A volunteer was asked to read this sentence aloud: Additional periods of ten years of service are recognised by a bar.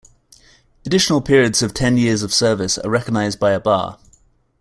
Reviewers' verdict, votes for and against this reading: accepted, 2, 0